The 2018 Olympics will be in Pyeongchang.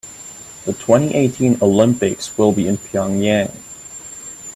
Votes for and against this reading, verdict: 0, 2, rejected